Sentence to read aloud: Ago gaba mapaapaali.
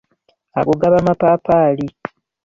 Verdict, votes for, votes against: accepted, 2, 0